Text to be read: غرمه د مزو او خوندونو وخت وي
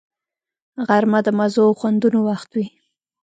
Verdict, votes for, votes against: rejected, 1, 2